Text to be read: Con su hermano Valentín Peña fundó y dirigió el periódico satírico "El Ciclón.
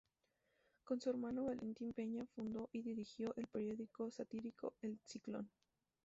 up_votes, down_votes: 0, 2